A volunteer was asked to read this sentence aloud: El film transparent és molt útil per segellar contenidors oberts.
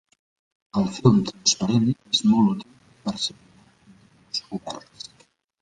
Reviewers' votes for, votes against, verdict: 0, 2, rejected